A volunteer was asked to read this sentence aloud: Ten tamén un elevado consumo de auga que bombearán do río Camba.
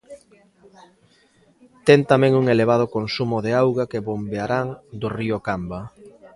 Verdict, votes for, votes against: rejected, 1, 2